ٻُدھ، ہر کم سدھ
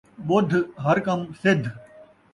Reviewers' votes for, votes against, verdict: 2, 0, accepted